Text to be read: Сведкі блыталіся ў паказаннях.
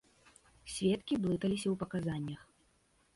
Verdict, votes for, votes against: accepted, 2, 0